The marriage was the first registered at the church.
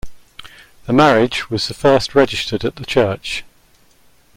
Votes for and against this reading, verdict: 2, 0, accepted